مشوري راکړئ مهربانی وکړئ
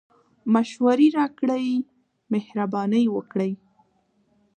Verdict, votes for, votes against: rejected, 0, 2